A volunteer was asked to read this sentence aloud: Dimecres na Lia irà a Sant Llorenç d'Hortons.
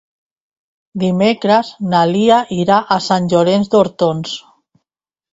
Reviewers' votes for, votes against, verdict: 3, 0, accepted